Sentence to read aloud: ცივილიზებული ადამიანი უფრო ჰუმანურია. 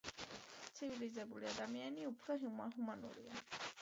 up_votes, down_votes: 2, 0